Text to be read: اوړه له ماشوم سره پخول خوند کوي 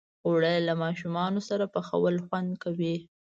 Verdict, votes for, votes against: rejected, 1, 2